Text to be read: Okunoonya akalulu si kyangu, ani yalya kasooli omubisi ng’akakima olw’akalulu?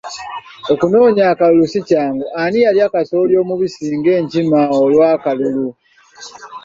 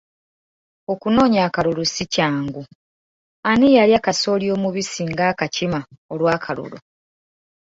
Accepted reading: second